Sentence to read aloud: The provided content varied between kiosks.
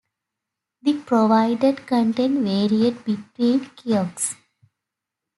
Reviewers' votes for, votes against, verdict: 0, 2, rejected